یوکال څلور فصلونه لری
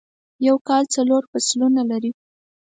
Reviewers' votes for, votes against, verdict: 4, 0, accepted